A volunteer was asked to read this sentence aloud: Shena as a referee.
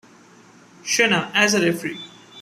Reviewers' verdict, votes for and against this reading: accepted, 2, 0